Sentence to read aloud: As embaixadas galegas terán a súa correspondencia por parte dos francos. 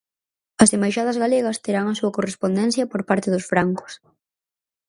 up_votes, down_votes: 4, 0